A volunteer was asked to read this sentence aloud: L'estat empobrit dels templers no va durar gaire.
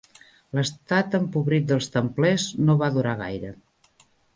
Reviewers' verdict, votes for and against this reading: accepted, 3, 0